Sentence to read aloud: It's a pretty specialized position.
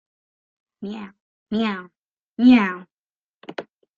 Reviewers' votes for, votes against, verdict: 0, 2, rejected